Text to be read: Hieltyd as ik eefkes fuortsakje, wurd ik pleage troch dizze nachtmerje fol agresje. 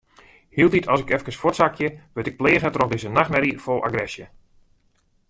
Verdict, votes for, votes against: accepted, 2, 0